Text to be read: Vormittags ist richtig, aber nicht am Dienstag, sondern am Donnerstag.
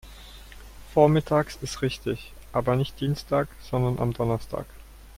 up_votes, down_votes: 0, 2